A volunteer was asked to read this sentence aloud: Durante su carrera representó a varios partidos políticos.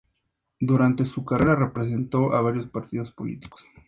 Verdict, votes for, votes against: accepted, 4, 2